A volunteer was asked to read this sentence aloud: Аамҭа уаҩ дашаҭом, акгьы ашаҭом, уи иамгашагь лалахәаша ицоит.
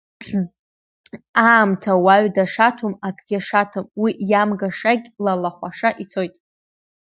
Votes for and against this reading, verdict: 2, 0, accepted